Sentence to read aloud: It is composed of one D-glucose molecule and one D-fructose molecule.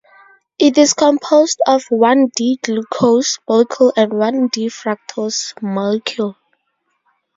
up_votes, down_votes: 0, 2